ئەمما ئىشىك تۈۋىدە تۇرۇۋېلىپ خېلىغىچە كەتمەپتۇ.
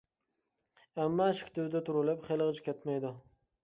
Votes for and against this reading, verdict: 1, 2, rejected